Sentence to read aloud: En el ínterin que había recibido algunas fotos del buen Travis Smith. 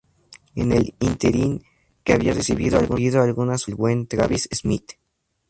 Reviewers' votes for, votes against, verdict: 0, 2, rejected